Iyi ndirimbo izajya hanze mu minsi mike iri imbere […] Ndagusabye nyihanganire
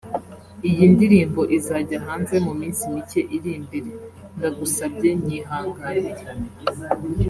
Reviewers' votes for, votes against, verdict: 3, 0, accepted